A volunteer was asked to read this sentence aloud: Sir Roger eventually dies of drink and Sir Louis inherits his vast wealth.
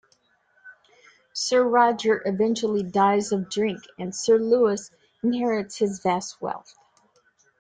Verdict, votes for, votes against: accepted, 2, 0